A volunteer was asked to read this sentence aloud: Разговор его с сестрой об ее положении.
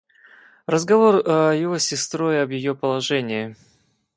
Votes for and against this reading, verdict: 2, 2, rejected